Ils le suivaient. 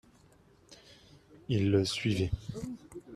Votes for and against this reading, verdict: 2, 0, accepted